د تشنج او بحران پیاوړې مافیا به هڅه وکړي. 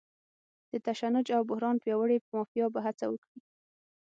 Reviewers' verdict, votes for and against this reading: accepted, 6, 0